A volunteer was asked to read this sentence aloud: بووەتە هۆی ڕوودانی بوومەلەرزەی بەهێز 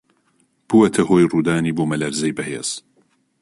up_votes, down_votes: 2, 0